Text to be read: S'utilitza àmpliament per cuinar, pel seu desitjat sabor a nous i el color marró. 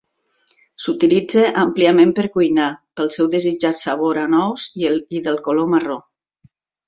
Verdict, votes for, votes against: rejected, 1, 2